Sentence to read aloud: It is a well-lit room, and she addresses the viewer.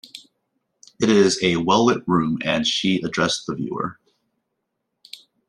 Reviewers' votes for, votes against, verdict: 1, 2, rejected